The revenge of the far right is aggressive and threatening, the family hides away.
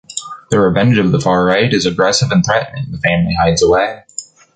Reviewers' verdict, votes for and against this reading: rejected, 1, 2